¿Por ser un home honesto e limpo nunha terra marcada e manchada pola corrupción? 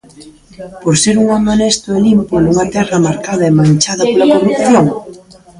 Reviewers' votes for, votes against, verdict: 1, 2, rejected